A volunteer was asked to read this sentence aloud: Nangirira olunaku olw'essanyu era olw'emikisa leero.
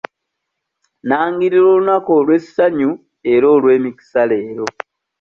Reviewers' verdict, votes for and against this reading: rejected, 1, 2